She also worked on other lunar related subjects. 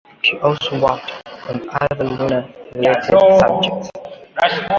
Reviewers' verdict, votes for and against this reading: accepted, 2, 1